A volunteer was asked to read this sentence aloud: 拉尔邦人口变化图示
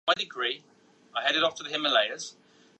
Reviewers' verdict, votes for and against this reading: rejected, 1, 3